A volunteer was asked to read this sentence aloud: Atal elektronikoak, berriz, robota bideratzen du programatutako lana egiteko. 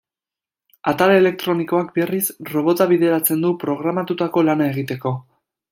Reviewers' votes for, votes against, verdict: 2, 0, accepted